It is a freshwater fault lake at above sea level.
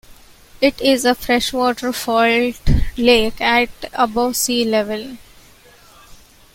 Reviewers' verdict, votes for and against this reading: rejected, 0, 2